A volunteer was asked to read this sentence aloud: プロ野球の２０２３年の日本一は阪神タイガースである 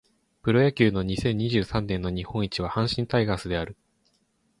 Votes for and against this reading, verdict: 0, 2, rejected